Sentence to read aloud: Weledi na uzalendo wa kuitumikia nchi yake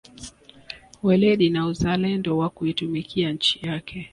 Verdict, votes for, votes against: accepted, 2, 0